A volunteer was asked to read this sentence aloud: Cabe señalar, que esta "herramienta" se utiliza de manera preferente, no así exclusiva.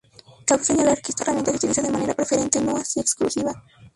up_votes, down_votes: 0, 2